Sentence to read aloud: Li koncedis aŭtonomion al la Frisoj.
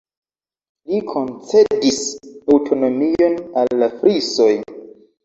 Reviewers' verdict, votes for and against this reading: accepted, 2, 0